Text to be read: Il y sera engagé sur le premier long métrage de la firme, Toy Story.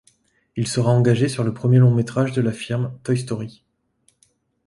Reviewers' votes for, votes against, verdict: 0, 2, rejected